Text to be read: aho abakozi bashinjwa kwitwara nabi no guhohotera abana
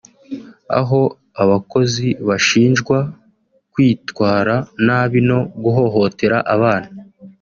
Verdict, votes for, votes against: accepted, 2, 0